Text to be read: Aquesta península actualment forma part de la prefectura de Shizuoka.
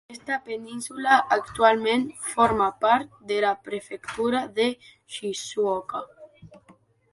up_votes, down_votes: 0, 2